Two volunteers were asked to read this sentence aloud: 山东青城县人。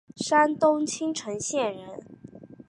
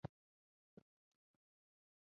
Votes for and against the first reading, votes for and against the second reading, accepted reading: 3, 0, 0, 2, first